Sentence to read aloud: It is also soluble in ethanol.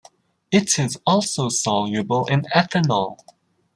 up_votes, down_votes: 2, 0